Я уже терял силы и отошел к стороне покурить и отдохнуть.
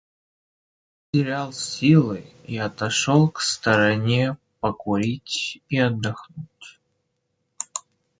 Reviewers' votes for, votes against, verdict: 0, 2, rejected